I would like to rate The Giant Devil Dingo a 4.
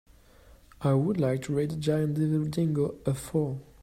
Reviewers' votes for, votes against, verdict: 0, 2, rejected